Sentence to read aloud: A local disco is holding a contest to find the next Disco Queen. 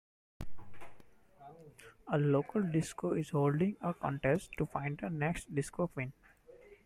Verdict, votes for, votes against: accepted, 2, 0